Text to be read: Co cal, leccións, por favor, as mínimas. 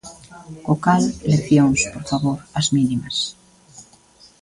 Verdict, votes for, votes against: rejected, 1, 2